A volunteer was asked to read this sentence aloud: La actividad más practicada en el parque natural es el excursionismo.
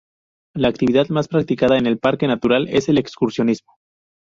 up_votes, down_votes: 2, 0